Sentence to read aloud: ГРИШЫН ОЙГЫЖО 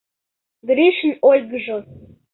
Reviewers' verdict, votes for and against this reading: accepted, 2, 0